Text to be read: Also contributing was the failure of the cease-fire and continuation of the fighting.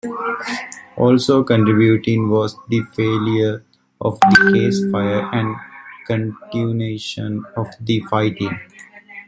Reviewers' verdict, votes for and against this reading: rejected, 1, 2